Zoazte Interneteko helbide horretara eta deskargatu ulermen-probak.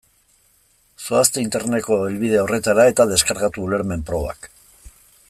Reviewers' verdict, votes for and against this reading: rejected, 1, 2